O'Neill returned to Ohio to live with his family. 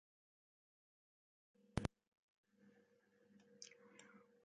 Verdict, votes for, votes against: rejected, 0, 2